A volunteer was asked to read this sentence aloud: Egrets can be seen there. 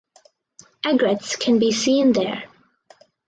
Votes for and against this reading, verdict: 2, 0, accepted